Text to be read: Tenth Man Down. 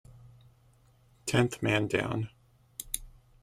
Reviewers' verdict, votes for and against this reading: accepted, 2, 0